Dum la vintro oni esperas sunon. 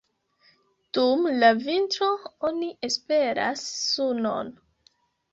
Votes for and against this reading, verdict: 2, 1, accepted